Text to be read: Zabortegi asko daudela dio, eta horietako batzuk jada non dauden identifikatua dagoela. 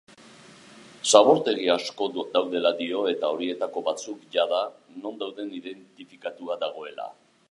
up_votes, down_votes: 2, 0